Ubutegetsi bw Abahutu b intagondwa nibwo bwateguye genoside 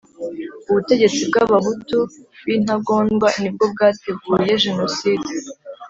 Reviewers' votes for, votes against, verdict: 2, 0, accepted